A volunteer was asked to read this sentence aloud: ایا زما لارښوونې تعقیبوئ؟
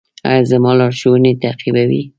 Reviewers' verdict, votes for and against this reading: rejected, 1, 2